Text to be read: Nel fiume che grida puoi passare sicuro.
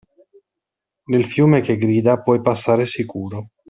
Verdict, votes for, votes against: accepted, 2, 0